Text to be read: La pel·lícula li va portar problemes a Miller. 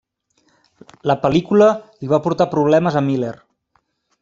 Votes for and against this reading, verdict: 3, 0, accepted